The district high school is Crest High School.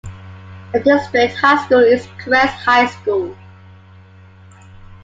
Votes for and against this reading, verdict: 1, 2, rejected